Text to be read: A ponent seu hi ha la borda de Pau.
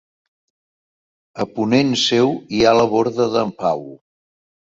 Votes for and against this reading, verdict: 2, 3, rejected